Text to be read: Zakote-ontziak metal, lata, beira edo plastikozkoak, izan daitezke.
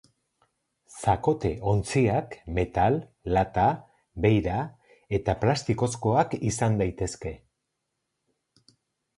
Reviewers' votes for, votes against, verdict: 0, 2, rejected